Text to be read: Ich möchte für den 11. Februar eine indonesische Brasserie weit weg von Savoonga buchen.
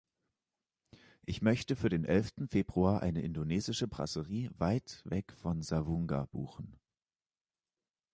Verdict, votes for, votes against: rejected, 0, 2